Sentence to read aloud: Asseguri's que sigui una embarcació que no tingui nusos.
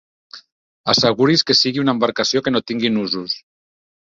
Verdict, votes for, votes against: accepted, 3, 0